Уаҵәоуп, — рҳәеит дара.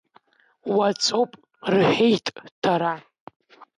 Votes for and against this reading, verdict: 2, 0, accepted